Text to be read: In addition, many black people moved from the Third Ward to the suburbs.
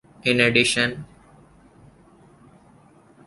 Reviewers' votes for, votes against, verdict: 1, 2, rejected